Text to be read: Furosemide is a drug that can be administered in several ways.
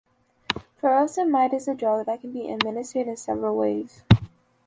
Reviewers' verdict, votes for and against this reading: accepted, 2, 0